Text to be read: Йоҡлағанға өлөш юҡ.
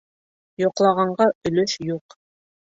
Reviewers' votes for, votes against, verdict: 2, 0, accepted